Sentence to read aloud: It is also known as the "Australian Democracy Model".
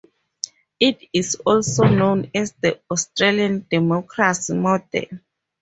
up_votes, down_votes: 2, 2